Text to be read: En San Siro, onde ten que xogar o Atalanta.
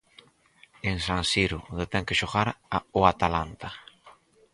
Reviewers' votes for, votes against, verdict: 2, 4, rejected